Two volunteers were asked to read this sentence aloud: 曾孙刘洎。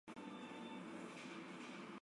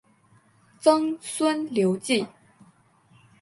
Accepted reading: second